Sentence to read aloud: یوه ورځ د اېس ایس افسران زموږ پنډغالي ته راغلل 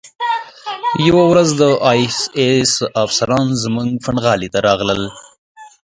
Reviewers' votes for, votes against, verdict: 0, 2, rejected